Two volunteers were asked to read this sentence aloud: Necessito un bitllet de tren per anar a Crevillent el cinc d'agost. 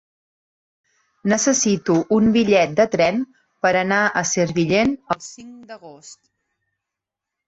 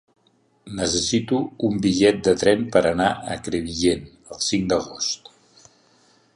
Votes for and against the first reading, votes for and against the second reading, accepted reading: 0, 2, 4, 0, second